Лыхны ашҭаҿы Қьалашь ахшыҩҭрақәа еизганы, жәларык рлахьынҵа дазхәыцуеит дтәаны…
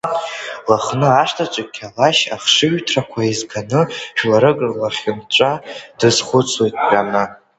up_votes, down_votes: 0, 2